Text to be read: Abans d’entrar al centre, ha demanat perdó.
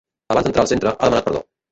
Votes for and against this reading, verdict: 1, 2, rejected